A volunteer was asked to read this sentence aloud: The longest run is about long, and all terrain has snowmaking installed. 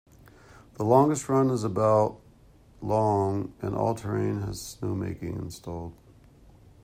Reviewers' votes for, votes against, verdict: 0, 2, rejected